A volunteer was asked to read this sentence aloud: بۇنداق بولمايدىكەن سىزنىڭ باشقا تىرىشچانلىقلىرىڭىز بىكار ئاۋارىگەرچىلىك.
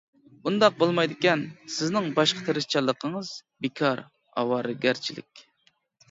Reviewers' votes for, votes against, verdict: 1, 2, rejected